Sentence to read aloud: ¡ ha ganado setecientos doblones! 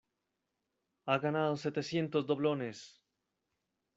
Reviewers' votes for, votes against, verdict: 2, 0, accepted